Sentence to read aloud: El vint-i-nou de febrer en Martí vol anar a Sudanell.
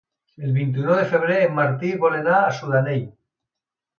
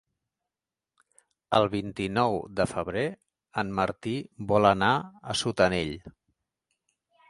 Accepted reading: first